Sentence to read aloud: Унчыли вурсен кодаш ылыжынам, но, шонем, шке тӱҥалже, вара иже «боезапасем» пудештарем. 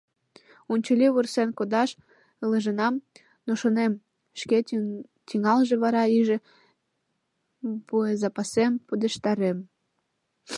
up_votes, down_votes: 0, 3